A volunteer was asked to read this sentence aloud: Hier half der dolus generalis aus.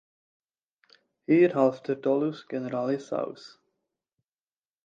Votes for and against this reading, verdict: 2, 0, accepted